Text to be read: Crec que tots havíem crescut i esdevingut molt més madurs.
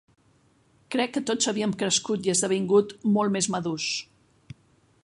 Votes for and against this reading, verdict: 2, 0, accepted